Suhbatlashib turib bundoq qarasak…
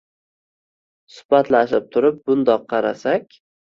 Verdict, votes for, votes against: rejected, 1, 2